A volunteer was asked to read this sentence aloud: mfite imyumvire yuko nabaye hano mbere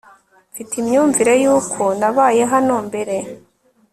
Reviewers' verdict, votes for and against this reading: accepted, 5, 0